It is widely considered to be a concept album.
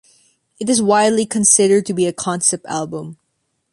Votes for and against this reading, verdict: 2, 0, accepted